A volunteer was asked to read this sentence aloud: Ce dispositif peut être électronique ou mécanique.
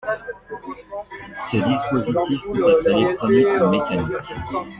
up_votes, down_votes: 0, 2